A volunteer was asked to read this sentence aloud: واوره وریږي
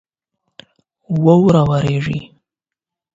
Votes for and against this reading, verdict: 8, 0, accepted